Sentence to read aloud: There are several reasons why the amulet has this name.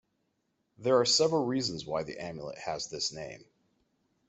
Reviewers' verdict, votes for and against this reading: accepted, 2, 0